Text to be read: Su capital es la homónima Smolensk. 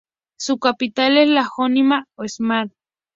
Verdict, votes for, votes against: accepted, 2, 0